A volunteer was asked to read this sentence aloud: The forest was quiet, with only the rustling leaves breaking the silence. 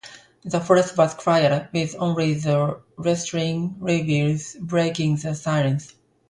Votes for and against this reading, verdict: 1, 2, rejected